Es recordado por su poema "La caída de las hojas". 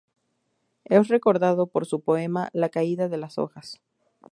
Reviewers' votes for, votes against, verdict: 2, 0, accepted